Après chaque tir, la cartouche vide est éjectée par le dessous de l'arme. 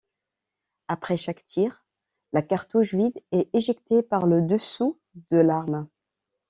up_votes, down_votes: 2, 0